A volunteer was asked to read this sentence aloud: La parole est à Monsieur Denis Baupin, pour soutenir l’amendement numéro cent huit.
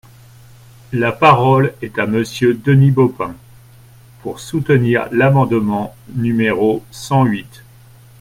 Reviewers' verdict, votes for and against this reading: accepted, 2, 1